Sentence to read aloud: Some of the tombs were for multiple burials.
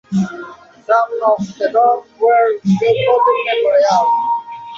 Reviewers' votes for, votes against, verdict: 1, 2, rejected